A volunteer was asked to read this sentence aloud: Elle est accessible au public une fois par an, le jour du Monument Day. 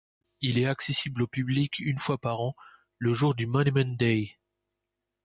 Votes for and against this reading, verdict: 0, 2, rejected